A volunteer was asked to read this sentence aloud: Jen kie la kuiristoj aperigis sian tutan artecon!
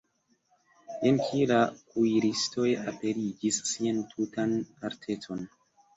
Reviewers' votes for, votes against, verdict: 1, 2, rejected